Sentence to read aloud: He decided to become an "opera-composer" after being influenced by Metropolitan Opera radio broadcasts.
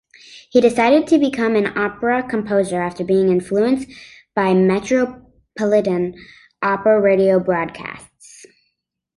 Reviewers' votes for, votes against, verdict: 2, 1, accepted